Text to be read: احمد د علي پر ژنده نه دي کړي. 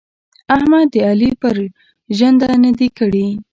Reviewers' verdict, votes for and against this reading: rejected, 1, 2